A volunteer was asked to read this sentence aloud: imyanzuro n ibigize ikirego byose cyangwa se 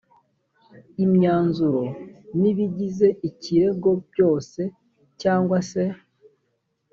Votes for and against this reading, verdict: 2, 0, accepted